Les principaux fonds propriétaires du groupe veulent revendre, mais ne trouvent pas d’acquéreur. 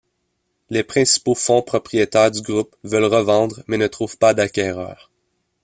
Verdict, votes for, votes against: accepted, 2, 0